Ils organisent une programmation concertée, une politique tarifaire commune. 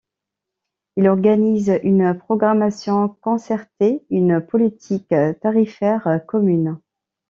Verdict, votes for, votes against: rejected, 1, 2